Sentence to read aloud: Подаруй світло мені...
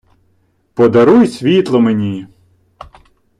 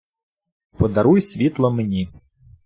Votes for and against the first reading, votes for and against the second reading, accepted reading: 1, 2, 2, 0, second